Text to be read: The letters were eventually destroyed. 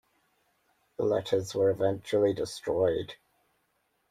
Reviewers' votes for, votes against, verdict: 2, 0, accepted